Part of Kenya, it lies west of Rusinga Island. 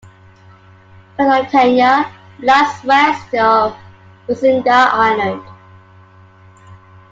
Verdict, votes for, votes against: rejected, 0, 2